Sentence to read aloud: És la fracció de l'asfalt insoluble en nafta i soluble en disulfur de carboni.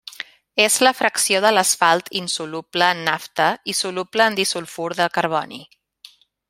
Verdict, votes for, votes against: accepted, 2, 0